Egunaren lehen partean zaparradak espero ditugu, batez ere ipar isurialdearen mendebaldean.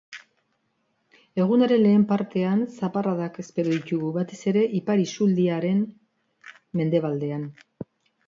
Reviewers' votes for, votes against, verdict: 2, 1, accepted